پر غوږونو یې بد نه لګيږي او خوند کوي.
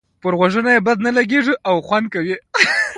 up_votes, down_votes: 1, 2